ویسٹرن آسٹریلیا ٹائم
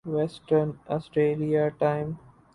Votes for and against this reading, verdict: 2, 2, rejected